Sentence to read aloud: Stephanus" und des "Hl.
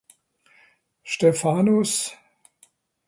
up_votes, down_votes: 0, 2